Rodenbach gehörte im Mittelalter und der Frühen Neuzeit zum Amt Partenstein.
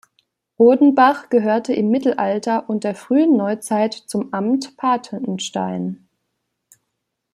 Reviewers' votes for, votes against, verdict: 0, 2, rejected